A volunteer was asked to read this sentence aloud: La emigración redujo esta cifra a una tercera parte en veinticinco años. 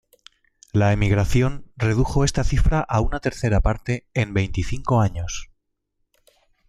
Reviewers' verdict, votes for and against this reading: accepted, 2, 0